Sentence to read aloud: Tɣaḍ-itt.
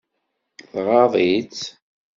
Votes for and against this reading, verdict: 2, 0, accepted